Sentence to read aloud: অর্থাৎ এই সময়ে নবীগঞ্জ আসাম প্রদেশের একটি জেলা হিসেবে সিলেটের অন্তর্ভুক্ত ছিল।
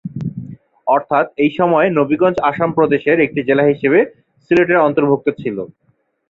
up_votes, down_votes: 2, 0